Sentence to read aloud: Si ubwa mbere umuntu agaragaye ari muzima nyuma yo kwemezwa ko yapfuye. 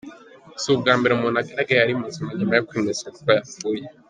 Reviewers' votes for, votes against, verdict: 2, 0, accepted